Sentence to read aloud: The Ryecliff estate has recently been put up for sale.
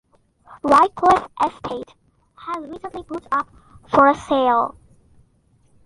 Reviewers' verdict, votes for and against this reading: rejected, 0, 2